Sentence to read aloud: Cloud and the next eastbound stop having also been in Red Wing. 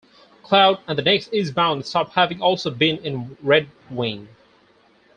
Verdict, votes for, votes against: rejected, 0, 4